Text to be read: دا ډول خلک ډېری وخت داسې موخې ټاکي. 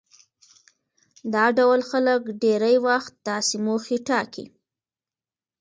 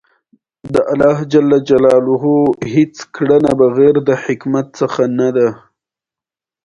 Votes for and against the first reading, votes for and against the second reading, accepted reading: 1, 2, 2, 1, second